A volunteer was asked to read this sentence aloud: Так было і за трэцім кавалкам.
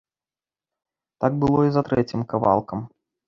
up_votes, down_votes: 2, 0